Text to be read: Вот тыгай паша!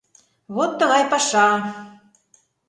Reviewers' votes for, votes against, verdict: 2, 0, accepted